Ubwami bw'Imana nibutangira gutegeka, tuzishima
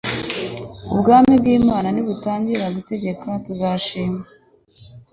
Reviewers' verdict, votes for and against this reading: accepted, 3, 0